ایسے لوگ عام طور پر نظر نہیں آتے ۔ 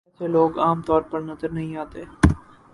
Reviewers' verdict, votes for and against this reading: rejected, 0, 2